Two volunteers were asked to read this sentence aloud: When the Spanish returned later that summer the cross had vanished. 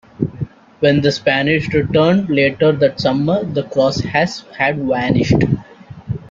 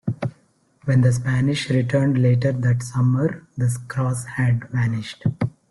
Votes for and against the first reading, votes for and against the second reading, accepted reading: 1, 2, 2, 0, second